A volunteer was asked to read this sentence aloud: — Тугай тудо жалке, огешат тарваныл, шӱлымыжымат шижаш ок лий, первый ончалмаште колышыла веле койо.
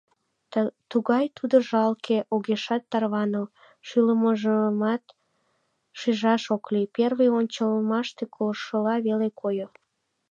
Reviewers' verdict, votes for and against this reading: rejected, 1, 2